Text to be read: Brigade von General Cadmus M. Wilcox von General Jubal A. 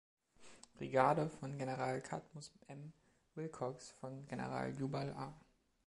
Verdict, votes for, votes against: accepted, 2, 0